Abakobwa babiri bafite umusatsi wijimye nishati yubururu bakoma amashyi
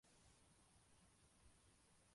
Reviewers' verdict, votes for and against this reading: rejected, 0, 2